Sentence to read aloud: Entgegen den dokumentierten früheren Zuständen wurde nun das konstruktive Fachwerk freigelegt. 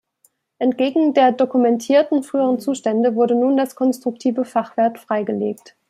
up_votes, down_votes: 0, 2